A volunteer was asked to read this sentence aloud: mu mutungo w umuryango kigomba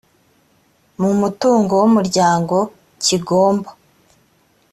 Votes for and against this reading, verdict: 2, 0, accepted